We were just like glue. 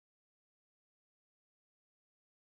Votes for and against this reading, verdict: 0, 2, rejected